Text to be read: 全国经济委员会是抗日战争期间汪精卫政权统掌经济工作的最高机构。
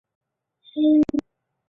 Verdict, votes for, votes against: accepted, 2, 0